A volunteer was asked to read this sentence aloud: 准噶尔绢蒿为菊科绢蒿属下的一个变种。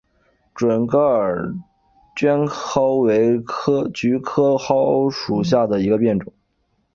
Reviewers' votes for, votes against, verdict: 3, 0, accepted